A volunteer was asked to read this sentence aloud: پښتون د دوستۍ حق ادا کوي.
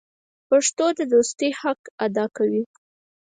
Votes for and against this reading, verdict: 2, 4, rejected